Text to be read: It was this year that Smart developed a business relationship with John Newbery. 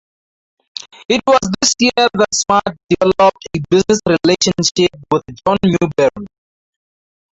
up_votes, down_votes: 0, 4